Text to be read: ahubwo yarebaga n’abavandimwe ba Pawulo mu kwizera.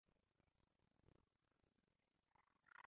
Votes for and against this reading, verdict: 0, 2, rejected